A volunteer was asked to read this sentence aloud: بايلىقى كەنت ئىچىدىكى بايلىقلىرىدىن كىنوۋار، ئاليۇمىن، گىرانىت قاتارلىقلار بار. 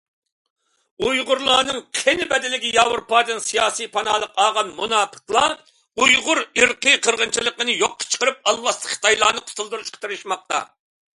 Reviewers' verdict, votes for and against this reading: rejected, 0, 2